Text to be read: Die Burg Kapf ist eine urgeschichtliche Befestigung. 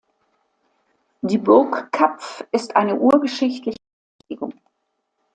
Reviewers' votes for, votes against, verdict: 0, 2, rejected